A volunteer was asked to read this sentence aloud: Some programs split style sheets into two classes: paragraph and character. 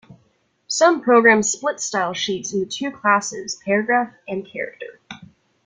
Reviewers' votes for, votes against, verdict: 1, 2, rejected